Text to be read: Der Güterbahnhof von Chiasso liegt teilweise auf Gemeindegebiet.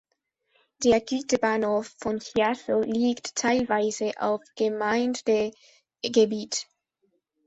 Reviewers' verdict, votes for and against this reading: rejected, 1, 2